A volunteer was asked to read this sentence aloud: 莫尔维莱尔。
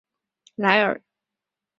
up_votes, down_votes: 2, 3